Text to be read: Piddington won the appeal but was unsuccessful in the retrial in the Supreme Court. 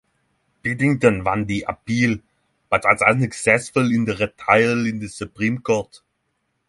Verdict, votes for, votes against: accepted, 3, 0